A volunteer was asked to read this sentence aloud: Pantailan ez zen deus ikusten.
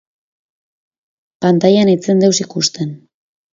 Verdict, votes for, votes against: rejected, 0, 2